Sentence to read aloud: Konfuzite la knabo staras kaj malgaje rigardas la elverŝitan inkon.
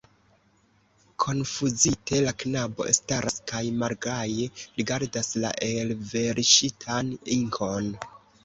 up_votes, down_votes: 1, 2